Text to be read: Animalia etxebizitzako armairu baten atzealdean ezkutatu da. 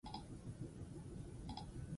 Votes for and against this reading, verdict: 2, 4, rejected